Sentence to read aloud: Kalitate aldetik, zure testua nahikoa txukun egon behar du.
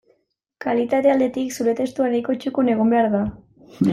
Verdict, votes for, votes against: rejected, 0, 2